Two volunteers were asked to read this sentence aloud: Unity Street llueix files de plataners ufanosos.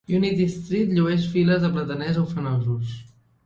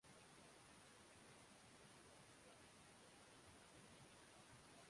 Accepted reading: first